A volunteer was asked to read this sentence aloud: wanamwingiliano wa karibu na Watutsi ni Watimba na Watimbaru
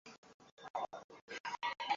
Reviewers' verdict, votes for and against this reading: rejected, 0, 2